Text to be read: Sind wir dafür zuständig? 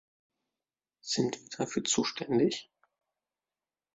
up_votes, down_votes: 1, 2